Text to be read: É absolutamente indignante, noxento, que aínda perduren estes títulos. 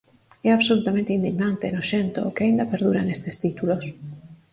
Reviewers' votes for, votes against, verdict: 4, 0, accepted